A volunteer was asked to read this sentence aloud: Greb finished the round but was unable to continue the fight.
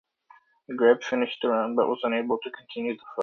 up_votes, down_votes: 0, 2